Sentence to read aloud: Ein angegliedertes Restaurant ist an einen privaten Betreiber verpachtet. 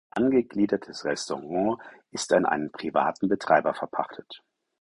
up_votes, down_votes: 0, 4